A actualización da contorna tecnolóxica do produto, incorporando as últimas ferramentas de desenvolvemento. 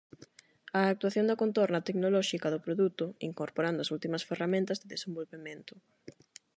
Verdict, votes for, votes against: rejected, 4, 4